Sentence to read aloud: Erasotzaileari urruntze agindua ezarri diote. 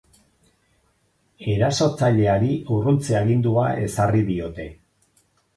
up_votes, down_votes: 4, 2